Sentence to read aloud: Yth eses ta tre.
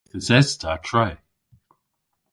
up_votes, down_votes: 1, 2